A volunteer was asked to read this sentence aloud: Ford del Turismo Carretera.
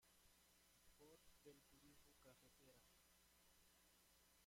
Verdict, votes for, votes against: rejected, 0, 2